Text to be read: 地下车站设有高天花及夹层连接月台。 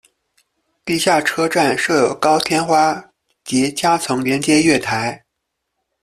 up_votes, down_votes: 2, 1